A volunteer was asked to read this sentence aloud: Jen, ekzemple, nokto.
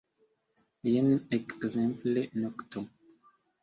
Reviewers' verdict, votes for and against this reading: accepted, 2, 1